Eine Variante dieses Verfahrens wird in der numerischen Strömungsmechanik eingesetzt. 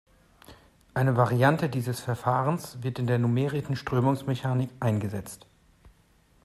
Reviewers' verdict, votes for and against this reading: rejected, 1, 2